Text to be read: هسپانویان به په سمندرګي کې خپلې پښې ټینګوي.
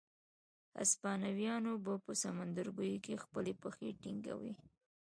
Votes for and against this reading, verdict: 1, 2, rejected